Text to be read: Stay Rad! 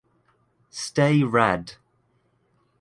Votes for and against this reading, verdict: 2, 0, accepted